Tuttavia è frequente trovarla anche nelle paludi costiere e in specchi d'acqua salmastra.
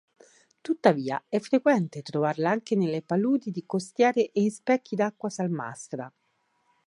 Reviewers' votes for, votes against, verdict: 1, 3, rejected